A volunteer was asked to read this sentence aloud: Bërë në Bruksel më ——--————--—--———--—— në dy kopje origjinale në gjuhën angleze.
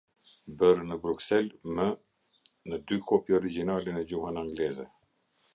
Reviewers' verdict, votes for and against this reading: rejected, 0, 2